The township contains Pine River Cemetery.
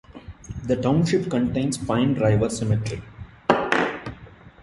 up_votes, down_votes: 1, 2